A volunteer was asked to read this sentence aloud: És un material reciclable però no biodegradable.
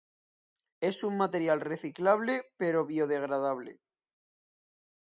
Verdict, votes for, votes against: rejected, 0, 2